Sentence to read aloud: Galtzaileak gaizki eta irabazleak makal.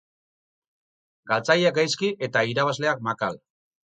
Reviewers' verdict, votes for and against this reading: rejected, 2, 2